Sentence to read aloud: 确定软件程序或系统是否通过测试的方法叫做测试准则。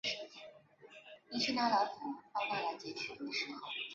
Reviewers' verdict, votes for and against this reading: rejected, 0, 2